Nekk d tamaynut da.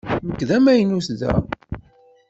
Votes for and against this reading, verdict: 1, 2, rejected